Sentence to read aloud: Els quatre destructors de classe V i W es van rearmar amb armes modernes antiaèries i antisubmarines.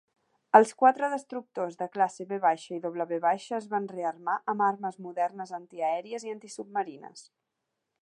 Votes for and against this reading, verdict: 3, 0, accepted